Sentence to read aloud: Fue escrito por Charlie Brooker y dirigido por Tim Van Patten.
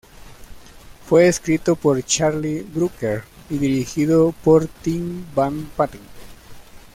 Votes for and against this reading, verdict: 0, 2, rejected